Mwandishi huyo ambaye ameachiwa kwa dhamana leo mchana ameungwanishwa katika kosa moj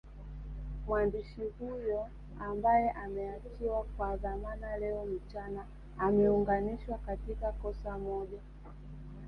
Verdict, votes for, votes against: rejected, 1, 2